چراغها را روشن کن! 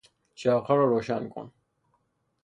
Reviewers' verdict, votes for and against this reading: accepted, 3, 0